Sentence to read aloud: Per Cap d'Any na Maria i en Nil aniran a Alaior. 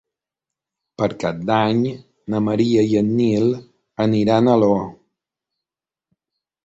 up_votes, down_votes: 0, 3